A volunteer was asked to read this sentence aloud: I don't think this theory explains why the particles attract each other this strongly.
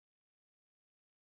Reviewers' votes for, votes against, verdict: 0, 3, rejected